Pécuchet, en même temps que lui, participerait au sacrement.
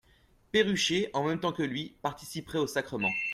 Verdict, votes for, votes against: rejected, 1, 2